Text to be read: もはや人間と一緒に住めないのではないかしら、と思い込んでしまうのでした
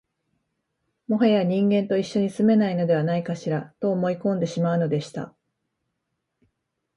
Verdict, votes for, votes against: accepted, 2, 0